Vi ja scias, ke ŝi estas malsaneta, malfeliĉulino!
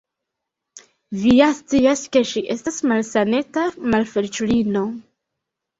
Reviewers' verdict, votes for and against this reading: rejected, 1, 2